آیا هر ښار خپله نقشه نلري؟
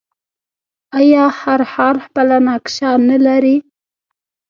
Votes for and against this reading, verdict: 1, 2, rejected